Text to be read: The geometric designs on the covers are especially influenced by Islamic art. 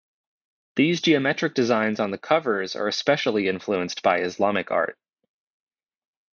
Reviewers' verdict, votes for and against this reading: accepted, 2, 0